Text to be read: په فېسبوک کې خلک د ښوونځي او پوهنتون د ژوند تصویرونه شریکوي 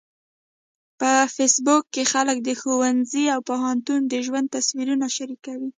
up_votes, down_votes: 1, 2